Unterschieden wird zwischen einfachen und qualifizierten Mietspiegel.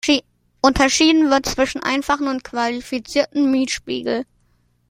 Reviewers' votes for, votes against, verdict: 0, 2, rejected